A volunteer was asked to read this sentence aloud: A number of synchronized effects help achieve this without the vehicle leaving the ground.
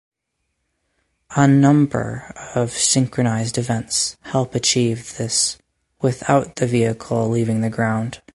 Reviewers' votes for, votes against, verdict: 0, 4, rejected